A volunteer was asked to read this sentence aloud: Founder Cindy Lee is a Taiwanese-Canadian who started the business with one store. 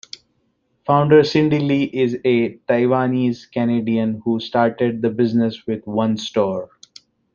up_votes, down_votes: 2, 0